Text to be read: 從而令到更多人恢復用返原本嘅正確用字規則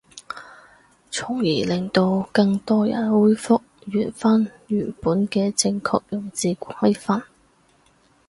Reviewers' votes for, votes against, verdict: 0, 2, rejected